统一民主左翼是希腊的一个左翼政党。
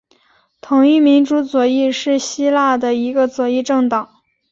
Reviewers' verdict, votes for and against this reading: accepted, 2, 0